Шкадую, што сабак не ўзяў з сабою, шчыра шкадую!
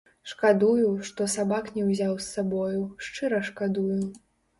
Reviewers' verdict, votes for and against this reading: rejected, 1, 2